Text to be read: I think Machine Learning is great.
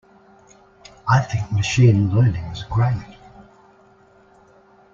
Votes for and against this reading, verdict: 2, 1, accepted